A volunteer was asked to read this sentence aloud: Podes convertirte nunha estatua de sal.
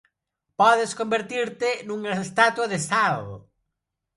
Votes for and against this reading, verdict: 0, 2, rejected